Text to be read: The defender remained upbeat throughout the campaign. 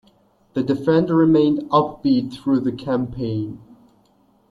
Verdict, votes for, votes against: rejected, 0, 2